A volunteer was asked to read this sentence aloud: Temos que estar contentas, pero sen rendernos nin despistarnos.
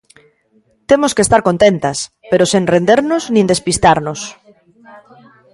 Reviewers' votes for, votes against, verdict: 0, 2, rejected